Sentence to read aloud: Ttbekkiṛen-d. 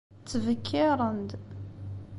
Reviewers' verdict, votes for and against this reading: accepted, 2, 0